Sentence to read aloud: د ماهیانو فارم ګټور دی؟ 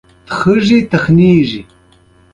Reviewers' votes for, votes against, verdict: 1, 2, rejected